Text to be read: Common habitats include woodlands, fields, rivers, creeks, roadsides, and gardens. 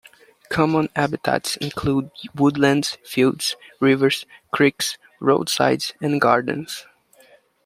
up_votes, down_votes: 2, 0